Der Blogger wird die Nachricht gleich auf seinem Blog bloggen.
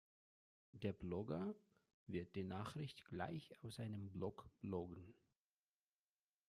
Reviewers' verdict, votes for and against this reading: rejected, 1, 2